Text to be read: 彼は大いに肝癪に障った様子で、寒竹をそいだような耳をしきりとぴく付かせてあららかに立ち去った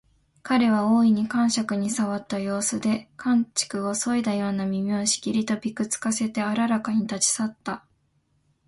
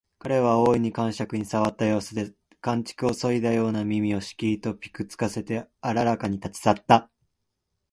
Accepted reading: first